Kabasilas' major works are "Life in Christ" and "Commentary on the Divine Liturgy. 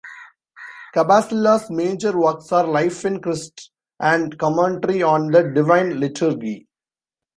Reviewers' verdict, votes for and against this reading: rejected, 1, 2